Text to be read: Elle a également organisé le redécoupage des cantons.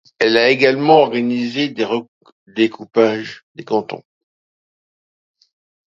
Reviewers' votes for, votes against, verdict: 0, 2, rejected